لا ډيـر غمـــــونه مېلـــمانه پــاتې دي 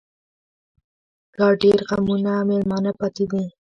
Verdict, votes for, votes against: rejected, 1, 2